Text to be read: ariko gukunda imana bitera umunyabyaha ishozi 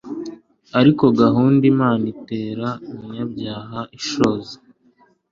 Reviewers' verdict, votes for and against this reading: accepted, 3, 0